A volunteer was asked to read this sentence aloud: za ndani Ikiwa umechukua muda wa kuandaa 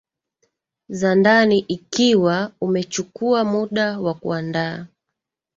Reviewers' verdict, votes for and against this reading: accepted, 2, 0